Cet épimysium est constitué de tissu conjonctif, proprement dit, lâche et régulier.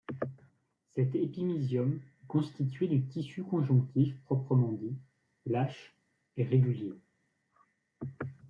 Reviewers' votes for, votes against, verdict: 0, 2, rejected